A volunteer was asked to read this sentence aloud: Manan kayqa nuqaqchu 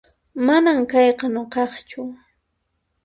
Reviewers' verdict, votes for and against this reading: accepted, 2, 0